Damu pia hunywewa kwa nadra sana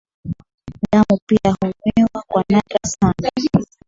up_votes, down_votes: 1, 2